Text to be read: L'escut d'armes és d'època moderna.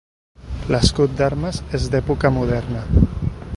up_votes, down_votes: 4, 0